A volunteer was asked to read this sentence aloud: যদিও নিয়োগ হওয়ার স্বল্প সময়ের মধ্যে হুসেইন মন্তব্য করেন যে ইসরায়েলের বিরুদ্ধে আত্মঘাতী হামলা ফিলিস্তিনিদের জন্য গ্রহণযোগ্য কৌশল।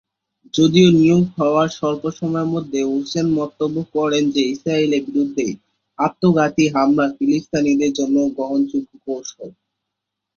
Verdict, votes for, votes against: rejected, 1, 2